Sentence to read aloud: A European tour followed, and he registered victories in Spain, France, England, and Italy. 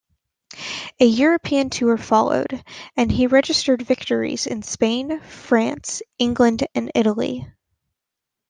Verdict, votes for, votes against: accepted, 2, 0